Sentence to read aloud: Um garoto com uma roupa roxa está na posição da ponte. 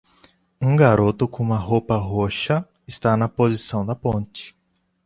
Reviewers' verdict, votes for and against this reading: accepted, 2, 0